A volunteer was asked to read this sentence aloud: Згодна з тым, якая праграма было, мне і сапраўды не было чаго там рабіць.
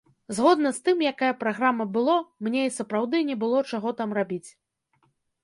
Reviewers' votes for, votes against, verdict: 2, 1, accepted